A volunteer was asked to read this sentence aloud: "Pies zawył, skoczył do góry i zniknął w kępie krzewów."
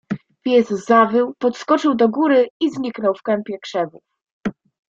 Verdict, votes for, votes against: rejected, 1, 2